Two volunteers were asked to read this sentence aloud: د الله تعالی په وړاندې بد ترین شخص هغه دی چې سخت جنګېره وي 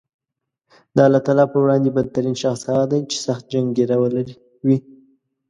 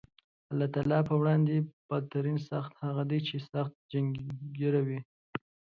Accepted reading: first